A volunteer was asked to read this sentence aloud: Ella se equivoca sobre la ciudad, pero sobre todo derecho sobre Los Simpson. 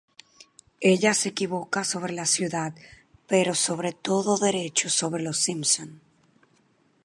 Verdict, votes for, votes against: rejected, 0, 2